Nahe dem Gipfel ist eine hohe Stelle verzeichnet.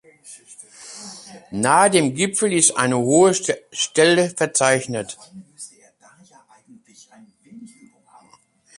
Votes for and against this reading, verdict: 0, 2, rejected